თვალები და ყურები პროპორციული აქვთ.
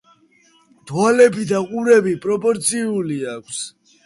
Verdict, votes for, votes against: accepted, 2, 1